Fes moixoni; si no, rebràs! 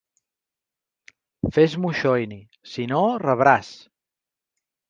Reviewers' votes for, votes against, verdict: 1, 2, rejected